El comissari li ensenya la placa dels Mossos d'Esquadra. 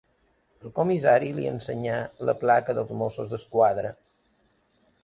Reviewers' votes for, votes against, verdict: 0, 2, rejected